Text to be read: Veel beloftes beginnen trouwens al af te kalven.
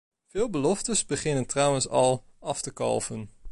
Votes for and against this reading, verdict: 2, 0, accepted